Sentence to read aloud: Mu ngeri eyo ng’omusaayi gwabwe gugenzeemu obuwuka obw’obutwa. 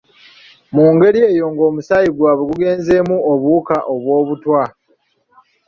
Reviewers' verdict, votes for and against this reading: accepted, 2, 0